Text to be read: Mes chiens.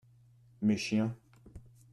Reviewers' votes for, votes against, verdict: 2, 0, accepted